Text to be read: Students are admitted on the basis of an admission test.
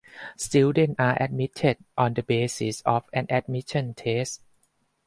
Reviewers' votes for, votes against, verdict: 0, 4, rejected